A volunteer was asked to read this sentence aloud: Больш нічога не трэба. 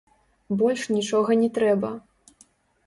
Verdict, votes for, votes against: rejected, 1, 2